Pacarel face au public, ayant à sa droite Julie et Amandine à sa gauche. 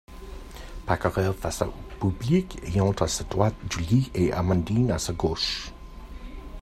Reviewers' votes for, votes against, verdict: 1, 2, rejected